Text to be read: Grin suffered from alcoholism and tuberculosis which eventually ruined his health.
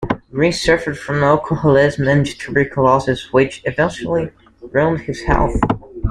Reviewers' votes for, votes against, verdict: 2, 1, accepted